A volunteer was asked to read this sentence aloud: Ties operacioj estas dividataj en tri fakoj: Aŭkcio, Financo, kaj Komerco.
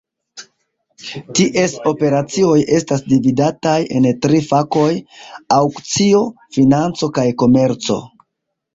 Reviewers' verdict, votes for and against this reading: accepted, 3, 0